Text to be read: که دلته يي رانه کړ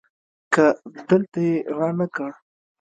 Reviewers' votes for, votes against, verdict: 2, 0, accepted